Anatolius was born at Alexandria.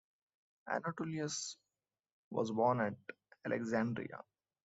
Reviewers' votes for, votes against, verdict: 2, 0, accepted